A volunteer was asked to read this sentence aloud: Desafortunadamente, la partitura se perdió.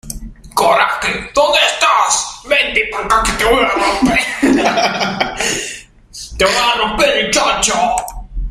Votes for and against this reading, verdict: 0, 2, rejected